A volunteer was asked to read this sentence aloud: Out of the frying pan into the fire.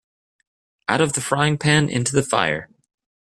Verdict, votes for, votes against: accepted, 2, 0